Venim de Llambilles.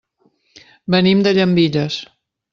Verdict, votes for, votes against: accepted, 3, 0